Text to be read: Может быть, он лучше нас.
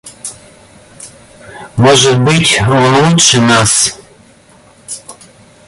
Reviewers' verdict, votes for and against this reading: accepted, 2, 0